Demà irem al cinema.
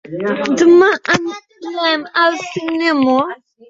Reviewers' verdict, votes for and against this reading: rejected, 1, 2